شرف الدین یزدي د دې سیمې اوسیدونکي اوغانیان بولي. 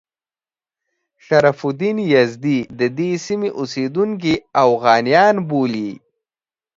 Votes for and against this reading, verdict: 2, 0, accepted